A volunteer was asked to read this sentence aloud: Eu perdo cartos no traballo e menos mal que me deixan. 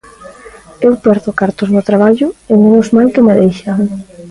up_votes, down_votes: 2, 0